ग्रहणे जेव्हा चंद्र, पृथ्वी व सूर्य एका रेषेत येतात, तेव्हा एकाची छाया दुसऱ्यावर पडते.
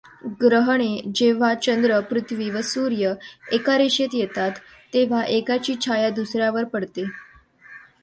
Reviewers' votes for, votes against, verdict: 2, 0, accepted